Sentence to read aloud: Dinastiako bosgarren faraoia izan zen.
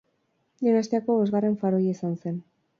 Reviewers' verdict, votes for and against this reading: accepted, 6, 4